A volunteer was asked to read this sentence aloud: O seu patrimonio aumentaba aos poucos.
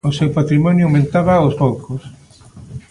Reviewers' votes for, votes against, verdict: 2, 0, accepted